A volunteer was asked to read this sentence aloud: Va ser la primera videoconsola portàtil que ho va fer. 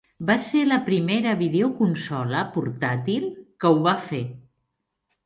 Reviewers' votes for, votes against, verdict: 0, 2, rejected